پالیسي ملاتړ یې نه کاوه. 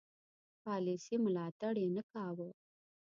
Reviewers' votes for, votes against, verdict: 2, 0, accepted